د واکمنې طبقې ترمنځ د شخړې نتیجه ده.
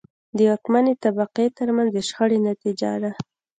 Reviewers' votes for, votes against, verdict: 2, 0, accepted